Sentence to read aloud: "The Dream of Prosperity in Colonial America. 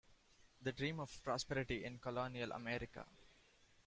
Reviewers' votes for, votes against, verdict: 2, 0, accepted